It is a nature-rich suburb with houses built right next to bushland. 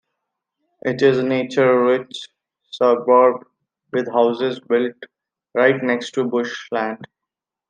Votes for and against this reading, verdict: 2, 0, accepted